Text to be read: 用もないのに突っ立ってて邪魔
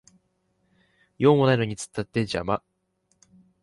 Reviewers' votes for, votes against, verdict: 1, 2, rejected